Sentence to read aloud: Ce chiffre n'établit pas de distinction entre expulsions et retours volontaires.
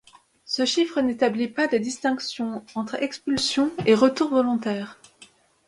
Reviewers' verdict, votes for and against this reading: accepted, 2, 0